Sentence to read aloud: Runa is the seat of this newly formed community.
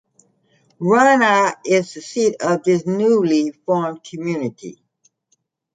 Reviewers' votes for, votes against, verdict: 2, 1, accepted